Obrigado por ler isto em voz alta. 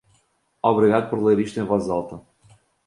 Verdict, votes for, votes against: accepted, 2, 0